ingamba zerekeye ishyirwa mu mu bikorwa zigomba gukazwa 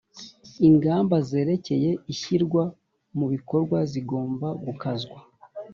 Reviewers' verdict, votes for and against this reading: rejected, 1, 2